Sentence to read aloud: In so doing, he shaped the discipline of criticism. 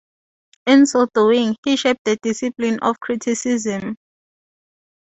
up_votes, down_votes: 2, 0